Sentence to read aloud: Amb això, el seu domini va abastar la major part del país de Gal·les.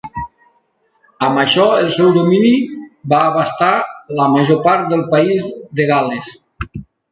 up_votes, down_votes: 2, 0